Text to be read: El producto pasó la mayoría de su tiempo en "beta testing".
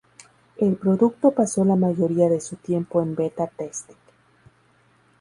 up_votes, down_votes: 2, 0